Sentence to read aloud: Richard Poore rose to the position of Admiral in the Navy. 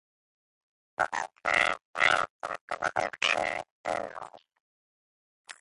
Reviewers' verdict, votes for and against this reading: rejected, 0, 2